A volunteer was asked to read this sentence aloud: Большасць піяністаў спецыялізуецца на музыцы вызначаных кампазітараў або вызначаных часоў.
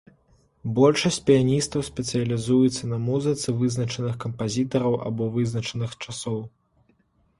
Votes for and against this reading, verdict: 3, 0, accepted